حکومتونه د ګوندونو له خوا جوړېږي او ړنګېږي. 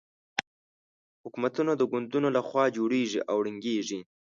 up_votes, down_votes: 4, 0